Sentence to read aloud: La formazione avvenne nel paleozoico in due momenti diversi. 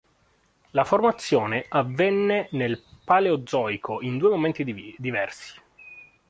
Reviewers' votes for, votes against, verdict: 0, 3, rejected